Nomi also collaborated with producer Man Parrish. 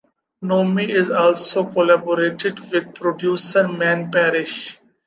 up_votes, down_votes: 1, 2